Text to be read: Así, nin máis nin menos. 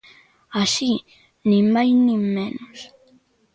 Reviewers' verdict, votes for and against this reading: accepted, 2, 0